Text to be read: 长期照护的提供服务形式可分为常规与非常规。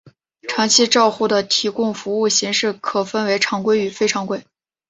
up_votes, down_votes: 2, 0